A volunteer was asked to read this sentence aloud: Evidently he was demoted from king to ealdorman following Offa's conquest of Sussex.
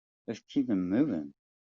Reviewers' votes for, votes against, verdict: 0, 2, rejected